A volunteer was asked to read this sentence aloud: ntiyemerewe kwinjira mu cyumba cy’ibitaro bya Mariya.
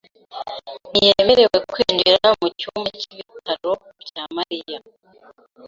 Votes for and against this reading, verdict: 2, 1, accepted